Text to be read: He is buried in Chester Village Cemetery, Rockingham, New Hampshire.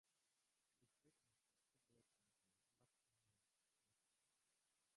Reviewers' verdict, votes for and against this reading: rejected, 0, 2